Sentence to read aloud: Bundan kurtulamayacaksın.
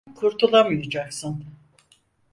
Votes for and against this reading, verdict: 0, 4, rejected